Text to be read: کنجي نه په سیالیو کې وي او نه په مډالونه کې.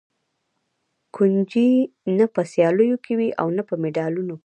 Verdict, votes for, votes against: rejected, 0, 2